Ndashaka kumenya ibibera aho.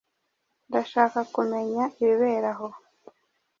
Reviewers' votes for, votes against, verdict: 2, 0, accepted